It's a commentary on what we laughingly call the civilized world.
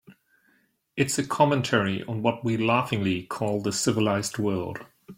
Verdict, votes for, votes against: accepted, 2, 0